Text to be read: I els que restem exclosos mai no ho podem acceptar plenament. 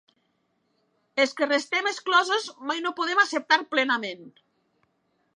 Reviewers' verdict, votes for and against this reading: accepted, 2, 0